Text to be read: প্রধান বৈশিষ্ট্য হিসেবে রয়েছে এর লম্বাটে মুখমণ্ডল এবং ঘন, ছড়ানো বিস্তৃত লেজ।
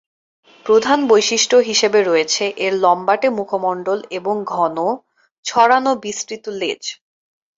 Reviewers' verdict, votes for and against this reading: accepted, 2, 0